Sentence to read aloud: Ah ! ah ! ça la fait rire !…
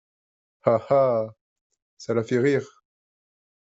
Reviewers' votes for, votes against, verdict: 2, 1, accepted